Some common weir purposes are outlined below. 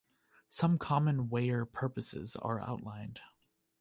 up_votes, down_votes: 1, 2